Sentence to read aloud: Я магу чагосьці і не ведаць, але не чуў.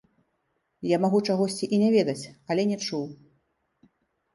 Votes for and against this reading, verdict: 2, 0, accepted